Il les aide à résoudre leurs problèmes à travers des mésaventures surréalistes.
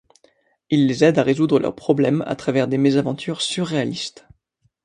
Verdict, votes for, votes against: accepted, 2, 0